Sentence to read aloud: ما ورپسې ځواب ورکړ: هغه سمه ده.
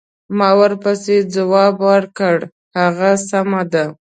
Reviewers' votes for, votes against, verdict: 2, 0, accepted